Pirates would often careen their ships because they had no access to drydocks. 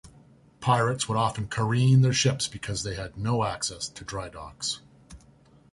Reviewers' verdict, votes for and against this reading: accepted, 2, 0